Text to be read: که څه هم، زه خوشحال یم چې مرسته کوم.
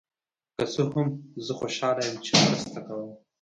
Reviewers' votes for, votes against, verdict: 1, 2, rejected